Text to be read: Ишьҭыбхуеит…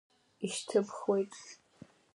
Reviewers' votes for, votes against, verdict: 2, 0, accepted